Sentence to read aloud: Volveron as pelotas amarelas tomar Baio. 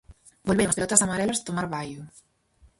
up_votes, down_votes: 0, 4